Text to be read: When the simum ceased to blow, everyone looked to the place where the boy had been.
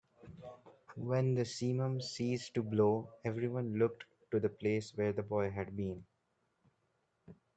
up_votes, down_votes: 2, 0